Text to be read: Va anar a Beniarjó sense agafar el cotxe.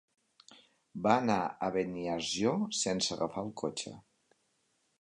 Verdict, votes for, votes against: accepted, 2, 0